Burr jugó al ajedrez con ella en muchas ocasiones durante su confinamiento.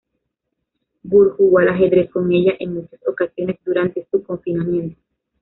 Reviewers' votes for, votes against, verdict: 0, 2, rejected